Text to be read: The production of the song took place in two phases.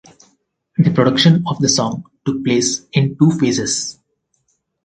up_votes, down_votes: 4, 0